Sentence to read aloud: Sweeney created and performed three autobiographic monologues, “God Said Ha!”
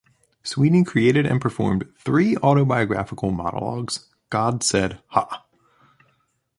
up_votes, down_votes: 1, 2